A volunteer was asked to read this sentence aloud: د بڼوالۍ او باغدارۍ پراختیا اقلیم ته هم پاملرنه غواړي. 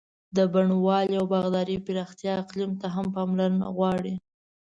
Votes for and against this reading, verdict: 2, 0, accepted